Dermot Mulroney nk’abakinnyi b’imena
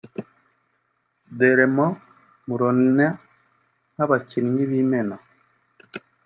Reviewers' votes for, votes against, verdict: 2, 0, accepted